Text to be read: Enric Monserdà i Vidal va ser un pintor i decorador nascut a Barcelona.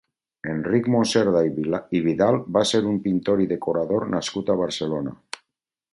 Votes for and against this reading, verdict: 0, 4, rejected